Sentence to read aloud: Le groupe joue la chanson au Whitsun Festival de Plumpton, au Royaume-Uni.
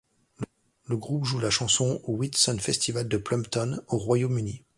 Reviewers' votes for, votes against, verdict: 2, 0, accepted